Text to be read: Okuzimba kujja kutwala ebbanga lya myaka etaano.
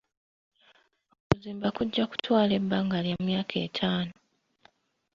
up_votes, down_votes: 1, 2